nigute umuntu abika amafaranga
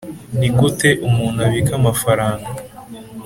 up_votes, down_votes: 2, 0